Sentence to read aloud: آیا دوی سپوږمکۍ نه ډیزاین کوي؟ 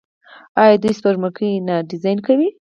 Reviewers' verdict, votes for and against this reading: rejected, 0, 4